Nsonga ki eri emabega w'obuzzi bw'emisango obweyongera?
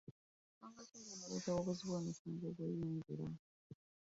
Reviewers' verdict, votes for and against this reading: rejected, 0, 2